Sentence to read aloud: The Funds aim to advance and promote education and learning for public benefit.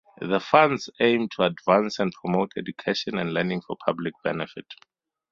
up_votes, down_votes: 2, 0